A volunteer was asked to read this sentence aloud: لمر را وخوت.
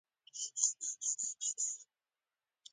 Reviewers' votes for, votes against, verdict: 2, 0, accepted